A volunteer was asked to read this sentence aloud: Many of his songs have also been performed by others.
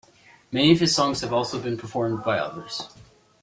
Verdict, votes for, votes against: accepted, 2, 0